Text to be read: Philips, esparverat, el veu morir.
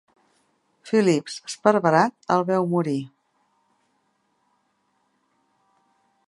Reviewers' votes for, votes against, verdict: 2, 0, accepted